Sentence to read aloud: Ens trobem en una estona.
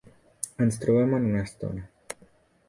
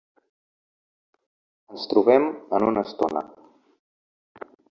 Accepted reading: second